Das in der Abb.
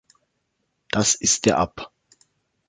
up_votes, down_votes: 1, 4